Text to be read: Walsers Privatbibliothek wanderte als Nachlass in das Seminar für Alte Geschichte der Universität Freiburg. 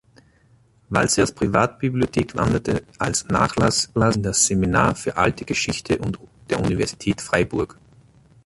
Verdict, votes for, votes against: rejected, 1, 2